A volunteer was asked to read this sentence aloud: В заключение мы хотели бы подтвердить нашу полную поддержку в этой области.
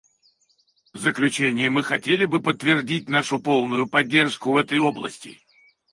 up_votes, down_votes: 0, 4